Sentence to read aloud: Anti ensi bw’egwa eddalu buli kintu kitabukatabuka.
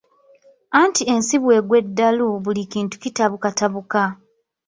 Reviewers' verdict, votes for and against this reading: accepted, 3, 1